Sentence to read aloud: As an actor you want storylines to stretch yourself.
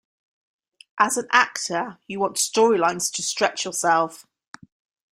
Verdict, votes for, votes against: accepted, 2, 0